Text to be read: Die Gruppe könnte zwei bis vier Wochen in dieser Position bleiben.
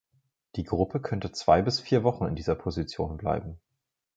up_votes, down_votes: 4, 0